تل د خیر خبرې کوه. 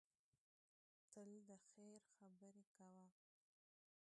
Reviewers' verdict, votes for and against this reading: rejected, 0, 2